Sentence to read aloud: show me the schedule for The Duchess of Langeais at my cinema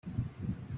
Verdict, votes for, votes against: rejected, 0, 2